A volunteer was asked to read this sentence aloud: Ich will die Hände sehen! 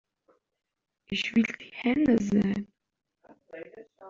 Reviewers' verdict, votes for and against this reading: rejected, 1, 2